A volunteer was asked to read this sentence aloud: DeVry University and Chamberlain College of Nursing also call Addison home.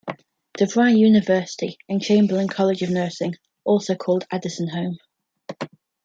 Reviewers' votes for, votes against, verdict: 0, 2, rejected